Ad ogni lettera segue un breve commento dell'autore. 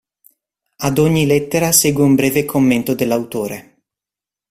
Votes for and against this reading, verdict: 2, 0, accepted